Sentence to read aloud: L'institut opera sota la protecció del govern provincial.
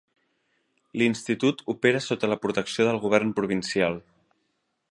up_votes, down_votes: 3, 0